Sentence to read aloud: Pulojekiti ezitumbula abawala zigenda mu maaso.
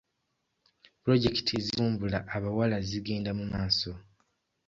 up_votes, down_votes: 1, 2